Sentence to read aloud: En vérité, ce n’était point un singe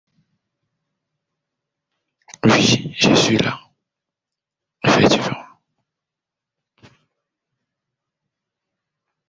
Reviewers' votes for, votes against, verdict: 0, 2, rejected